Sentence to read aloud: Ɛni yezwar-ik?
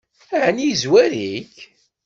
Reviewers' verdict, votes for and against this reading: accepted, 2, 0